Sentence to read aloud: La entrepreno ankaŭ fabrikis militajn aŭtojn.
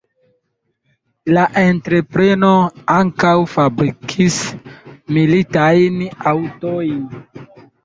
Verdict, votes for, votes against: rejected, 1, 2